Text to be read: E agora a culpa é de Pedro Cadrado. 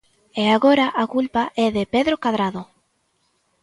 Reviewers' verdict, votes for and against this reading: accepted, 2, 0